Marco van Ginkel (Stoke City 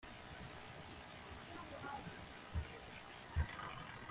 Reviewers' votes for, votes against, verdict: 0, 2, rejected